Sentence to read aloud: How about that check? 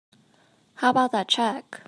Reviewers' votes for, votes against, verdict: 2, 0, accepted